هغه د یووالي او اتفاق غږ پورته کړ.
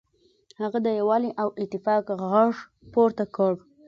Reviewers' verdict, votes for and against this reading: accepted, 2, 0